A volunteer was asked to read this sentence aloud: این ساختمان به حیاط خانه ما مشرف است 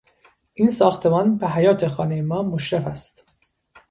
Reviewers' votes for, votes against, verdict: 2, 0, accepted